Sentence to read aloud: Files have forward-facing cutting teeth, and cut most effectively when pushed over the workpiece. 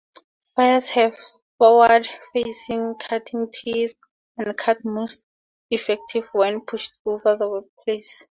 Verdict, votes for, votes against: rejected, 0, 2